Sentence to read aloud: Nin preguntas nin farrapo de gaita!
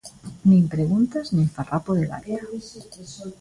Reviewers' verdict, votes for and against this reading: rejected, 1, 2